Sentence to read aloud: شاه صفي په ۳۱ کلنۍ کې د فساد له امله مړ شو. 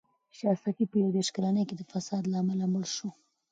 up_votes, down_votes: 0, 2